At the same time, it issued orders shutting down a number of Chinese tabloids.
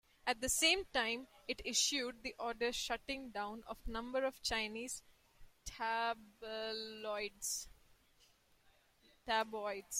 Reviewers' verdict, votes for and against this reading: rejected, 0, 2